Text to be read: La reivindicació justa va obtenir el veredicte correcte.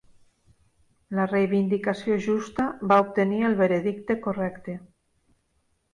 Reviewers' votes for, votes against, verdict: 3, 0, accepted